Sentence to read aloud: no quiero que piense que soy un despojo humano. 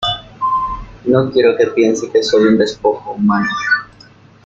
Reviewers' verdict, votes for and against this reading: accepted, 2, 0